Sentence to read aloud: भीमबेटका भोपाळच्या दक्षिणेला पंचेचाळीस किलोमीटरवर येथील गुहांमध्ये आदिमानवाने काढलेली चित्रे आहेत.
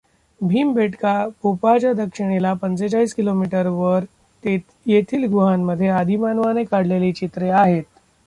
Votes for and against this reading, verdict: 0, 2, rejected